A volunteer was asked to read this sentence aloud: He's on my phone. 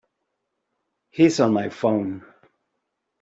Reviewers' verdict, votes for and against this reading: accepted, 3, 0